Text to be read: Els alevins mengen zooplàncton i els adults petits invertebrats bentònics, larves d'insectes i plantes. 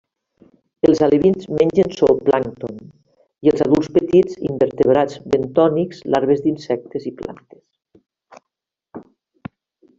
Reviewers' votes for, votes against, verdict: 2, 0, accepted